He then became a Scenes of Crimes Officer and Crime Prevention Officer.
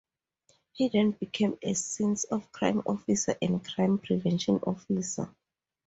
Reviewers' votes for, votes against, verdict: 0, 2, rejected